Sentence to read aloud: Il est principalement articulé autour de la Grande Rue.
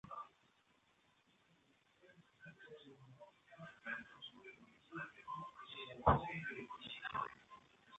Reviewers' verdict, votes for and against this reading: rejected, 0, 2